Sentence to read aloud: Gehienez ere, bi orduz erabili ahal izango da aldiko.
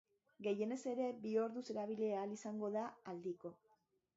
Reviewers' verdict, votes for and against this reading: accepted, 3, 0